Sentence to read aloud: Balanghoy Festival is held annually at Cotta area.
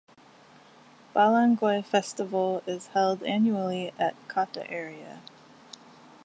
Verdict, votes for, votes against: accepted, 4, 0